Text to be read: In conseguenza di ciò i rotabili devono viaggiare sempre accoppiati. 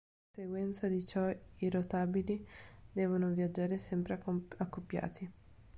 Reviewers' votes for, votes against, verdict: 0, 2, rejected